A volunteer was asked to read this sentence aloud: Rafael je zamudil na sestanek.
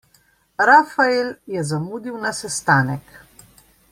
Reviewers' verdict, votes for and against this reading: accepted, 2, 0